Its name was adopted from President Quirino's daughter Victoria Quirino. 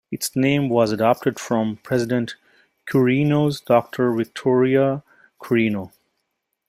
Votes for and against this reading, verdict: 2, 0, accepted